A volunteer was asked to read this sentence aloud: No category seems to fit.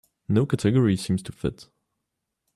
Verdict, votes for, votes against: accepted, 2, 0